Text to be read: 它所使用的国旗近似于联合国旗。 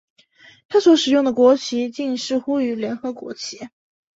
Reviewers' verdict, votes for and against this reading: accepted, 4, 2